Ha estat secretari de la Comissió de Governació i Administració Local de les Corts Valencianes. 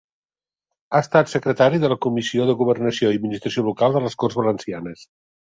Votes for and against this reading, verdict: 3, 0, accepted